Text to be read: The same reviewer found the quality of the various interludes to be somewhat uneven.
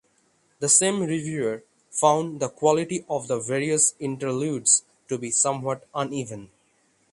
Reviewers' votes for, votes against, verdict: 6, 0, accepted